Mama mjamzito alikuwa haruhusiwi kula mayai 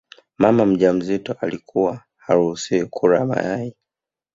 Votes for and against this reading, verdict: 1, 2, rejected